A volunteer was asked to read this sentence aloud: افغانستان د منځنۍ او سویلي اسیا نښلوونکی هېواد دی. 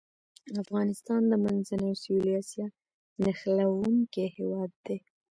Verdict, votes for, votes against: rejected, 0, 2